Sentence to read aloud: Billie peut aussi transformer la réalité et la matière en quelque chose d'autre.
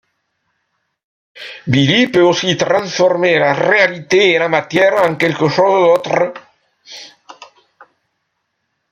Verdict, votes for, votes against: rejected, 0, 2